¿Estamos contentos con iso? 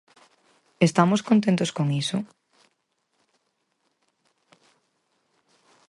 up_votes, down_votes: 4, 0